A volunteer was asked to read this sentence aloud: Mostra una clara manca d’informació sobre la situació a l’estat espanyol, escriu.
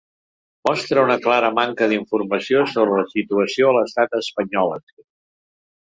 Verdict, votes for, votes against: rejected, 1, 2